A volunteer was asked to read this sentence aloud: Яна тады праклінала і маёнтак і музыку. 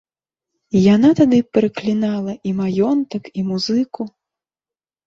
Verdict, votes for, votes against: rejected, 1, 2